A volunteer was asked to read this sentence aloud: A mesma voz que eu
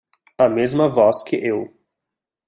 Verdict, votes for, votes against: rejected, 1, 2